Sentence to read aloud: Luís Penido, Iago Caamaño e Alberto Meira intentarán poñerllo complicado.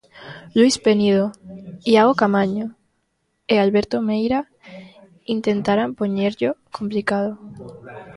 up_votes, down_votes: 3, 1